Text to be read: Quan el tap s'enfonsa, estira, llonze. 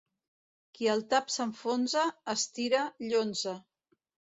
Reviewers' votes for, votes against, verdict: 1, 3, rejected